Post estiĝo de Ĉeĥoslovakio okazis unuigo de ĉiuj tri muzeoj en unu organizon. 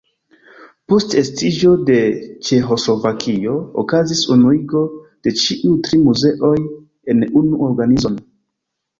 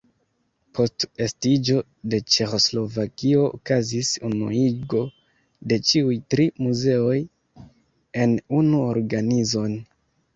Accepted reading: second